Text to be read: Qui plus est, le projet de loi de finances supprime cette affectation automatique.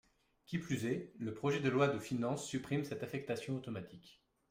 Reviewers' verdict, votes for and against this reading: accepted, 2, 0